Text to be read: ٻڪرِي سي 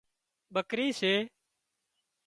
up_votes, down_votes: 2, 0